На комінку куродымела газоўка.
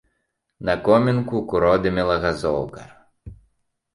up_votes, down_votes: 2, 0